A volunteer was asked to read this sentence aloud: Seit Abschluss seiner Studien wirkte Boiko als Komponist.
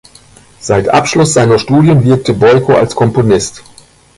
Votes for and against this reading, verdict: 2, 0, accepted